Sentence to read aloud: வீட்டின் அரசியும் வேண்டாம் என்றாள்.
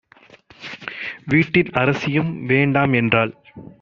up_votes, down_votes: 1, 2